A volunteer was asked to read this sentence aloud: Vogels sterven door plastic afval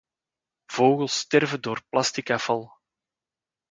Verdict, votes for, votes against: accepted, 2, 0